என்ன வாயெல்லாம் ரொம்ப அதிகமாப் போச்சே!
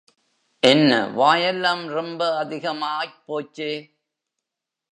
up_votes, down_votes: 1, 3